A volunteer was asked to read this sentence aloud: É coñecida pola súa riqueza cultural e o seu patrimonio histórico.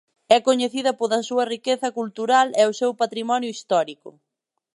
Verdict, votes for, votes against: accepted, 2, 0